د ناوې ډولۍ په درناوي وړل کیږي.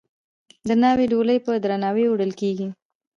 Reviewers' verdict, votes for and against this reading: accepted, 2, 1